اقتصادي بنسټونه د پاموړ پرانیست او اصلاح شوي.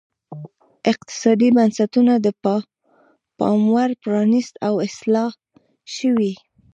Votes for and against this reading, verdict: 0, 2, rejected